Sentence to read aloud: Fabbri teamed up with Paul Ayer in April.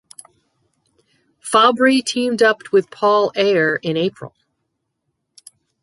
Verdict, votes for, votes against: accepted, 6, 0